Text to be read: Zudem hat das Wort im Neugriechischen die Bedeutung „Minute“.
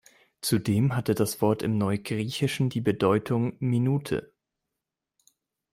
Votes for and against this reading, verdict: 0, 2, rejected